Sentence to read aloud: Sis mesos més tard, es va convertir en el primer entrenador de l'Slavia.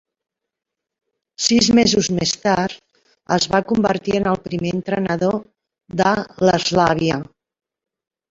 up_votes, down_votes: 1, 2